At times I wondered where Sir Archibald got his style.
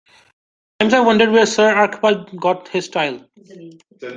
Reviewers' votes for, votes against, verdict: 0, 2, rejected